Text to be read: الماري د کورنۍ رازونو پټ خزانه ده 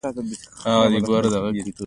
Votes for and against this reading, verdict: 0, 2, rejected